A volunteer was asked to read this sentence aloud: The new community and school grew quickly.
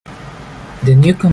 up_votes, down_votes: 0, 2